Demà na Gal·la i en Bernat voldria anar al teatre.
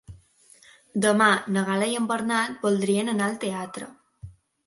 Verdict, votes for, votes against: accepted, 2, 1